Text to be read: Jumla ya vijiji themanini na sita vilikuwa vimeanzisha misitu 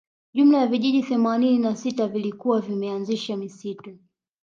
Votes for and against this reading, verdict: 1, 2, rejected